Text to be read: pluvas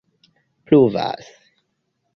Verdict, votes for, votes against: accepted, 2, 1